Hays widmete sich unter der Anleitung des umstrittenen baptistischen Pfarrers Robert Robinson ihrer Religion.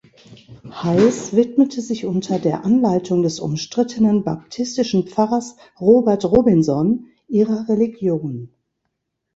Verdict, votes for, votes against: rejected, 1, 2